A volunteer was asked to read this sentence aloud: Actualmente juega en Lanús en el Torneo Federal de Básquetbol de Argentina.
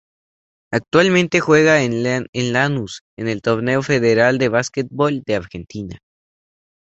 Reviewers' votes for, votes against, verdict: 2, 0, accepted